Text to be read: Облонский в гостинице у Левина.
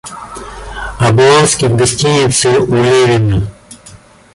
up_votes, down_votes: 0, 2